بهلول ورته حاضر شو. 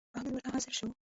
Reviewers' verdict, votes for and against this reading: rejected, 0, 2